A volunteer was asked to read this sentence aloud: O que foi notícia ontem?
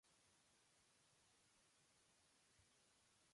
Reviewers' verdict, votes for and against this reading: rejected, 0, 2